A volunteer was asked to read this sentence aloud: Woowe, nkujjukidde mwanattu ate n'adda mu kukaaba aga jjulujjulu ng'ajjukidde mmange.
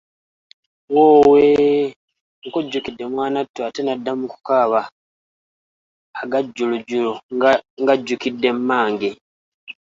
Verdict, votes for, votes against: accepted, 2, 0